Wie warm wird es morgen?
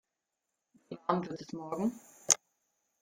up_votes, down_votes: 0, 3